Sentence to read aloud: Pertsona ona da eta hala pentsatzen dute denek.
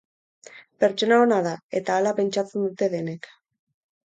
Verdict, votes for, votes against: accepted, 4, 0